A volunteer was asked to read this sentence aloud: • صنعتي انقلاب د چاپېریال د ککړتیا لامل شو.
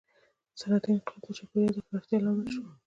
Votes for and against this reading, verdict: 1, 2, rejected